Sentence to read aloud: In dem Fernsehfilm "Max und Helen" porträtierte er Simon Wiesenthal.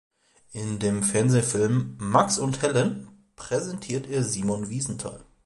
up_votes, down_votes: 0, 2